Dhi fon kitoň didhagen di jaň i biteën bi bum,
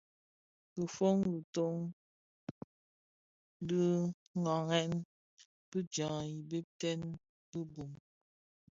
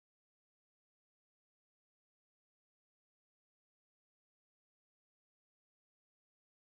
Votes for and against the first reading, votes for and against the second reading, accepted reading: 2, 0, 0, 2, first